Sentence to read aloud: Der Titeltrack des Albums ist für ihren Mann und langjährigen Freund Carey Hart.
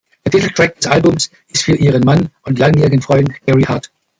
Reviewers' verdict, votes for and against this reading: rejected, 1, 2